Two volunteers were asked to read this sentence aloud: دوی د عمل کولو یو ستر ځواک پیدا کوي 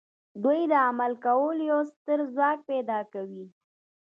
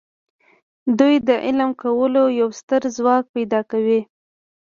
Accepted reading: first